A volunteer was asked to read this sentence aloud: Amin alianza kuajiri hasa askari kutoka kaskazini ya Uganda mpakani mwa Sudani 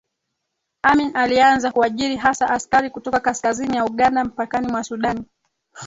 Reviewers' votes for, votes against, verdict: 2, 4, rejected